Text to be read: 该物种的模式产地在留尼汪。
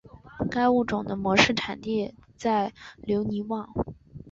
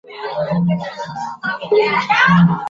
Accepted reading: first